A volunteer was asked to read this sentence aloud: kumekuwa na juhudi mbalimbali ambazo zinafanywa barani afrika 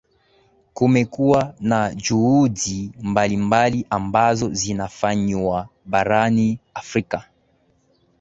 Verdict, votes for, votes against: rejected, 0, 2